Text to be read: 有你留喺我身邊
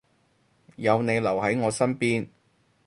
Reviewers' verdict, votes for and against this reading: accepted, 4, 0